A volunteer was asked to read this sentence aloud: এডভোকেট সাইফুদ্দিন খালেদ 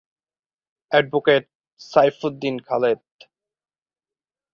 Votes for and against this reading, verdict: 2, 0, accepted